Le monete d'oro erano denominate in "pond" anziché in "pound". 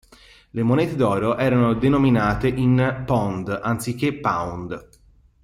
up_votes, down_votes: 1, 2